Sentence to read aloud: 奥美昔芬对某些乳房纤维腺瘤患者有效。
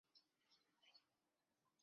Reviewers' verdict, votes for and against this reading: rejected, 0, 2